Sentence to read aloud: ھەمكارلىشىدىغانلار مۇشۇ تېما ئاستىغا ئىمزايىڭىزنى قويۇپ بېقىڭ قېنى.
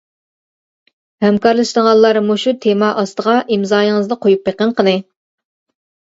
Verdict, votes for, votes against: accepted, 2, 0